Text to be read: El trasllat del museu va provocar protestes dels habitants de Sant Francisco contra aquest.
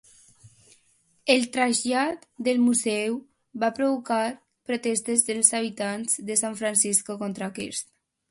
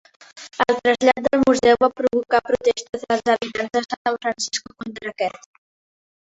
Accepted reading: first